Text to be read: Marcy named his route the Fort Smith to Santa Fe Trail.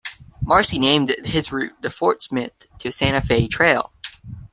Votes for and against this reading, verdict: 2, 0, accepted